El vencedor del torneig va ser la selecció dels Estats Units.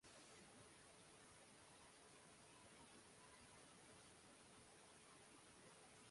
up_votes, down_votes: 0, 2